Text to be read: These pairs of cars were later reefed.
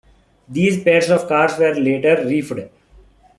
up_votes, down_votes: 0, 2